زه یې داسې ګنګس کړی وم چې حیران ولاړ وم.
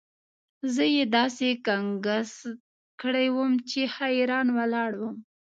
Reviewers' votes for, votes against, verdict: 1, 2, rejected